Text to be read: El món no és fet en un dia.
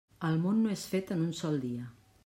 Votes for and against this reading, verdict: 1, 2, rejected